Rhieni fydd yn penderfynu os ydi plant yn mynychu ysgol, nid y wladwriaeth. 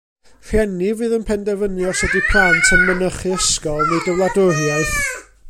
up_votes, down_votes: 1, 2